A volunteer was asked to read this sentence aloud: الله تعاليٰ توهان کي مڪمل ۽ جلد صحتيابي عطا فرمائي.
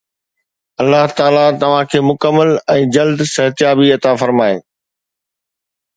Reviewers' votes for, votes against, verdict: 2, 0, accepted